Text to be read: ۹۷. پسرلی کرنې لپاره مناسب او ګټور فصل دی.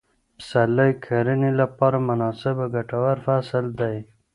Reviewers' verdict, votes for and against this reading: rejected, 0, 2